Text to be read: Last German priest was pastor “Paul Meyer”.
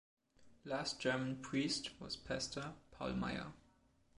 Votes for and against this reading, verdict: 2, 0, accepted